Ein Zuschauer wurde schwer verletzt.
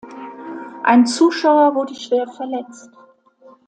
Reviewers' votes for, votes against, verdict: 2, 0, accepted